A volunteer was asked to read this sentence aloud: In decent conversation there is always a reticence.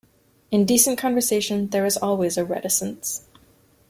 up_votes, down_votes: 2, 0